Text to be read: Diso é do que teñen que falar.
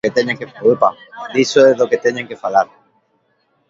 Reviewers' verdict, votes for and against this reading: rejected, 0, 2